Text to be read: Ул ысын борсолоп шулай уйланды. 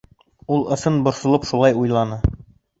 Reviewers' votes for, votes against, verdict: 1, 2, rejected